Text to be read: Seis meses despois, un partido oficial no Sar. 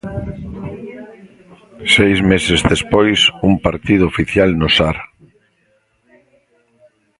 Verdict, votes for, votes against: rejected, 0, 2